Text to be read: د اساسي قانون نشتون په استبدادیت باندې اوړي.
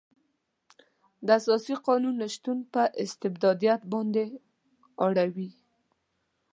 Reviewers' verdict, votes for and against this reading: rejected, 1, 2